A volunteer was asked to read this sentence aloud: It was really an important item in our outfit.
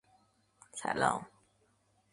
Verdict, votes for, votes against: rejected, 0, 2